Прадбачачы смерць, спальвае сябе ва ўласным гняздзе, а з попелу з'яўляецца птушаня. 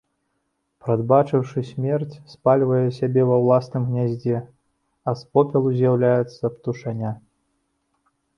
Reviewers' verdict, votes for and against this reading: rejected, 0, 2